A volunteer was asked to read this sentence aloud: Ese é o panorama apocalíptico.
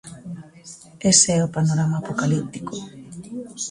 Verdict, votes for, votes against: rejected, 0, 2